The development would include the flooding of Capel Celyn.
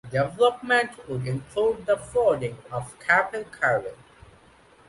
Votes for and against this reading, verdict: 2, 0, accepted